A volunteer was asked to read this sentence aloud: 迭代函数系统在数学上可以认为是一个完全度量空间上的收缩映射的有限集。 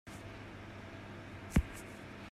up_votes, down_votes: 0, 2